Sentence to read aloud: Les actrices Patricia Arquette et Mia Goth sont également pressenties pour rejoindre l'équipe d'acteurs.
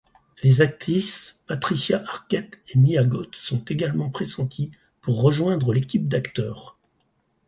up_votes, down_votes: 6, 0